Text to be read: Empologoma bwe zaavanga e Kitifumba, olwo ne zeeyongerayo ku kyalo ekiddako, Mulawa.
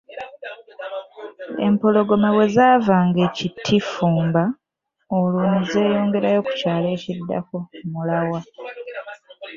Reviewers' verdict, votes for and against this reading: rejected, 0, 2